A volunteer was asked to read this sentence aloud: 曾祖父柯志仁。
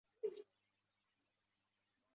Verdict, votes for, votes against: rejected, 2, 3